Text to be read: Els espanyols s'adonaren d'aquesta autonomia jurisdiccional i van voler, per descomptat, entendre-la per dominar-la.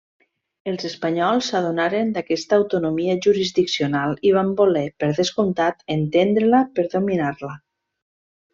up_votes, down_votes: 2, 0